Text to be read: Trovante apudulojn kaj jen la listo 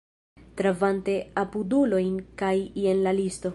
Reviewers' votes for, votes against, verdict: 0, 2, rejected